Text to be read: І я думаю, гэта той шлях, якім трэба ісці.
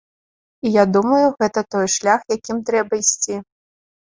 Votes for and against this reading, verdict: 2, 0, accepted